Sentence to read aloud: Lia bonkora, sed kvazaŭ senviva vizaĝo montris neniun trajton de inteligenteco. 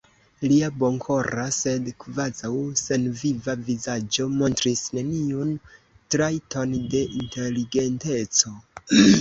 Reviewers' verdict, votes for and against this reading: accepted, 3, 0